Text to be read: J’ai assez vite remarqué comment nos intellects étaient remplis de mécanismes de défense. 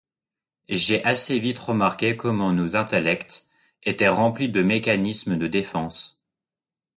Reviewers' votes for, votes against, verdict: 2, 0, accepted